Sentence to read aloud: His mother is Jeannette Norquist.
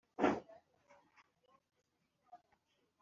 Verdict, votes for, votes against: rejected, 0, 2